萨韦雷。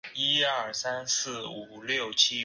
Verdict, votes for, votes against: rejected, 1, 3